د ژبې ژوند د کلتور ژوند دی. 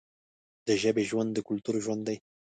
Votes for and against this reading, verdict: 2, 0, accepted